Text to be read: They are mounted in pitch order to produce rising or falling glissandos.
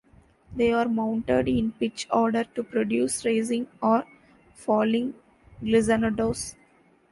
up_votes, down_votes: 2, 1